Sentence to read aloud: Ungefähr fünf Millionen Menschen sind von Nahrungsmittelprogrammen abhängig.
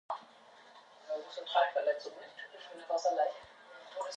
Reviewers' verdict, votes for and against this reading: rejected, 0, 2